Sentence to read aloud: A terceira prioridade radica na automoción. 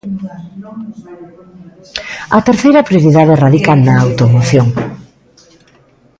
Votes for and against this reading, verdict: 2, 1, accepted